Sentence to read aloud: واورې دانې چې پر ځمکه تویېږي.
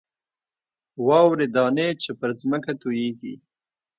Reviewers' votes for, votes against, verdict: 2, 0, accepted